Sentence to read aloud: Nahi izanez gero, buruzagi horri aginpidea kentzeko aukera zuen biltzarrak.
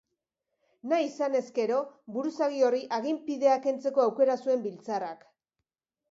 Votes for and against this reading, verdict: 2, 0, accepted